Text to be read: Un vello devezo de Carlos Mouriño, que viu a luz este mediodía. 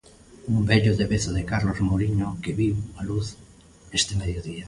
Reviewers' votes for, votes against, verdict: 2, 0, accepted